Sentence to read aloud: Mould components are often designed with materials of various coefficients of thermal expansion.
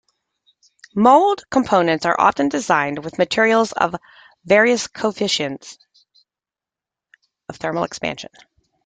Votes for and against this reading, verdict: 2, 0, accepted